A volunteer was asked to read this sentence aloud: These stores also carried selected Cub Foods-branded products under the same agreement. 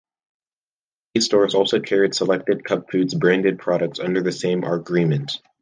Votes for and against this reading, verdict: 1, 2, rejected